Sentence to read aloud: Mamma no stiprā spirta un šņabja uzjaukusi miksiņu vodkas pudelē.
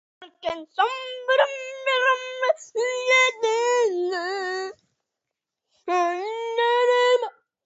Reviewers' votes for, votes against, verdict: 0, 2, rejected